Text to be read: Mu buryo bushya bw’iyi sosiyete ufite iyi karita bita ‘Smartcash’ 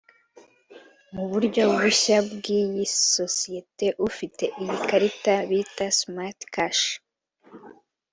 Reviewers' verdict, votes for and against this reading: accepted, 2, 0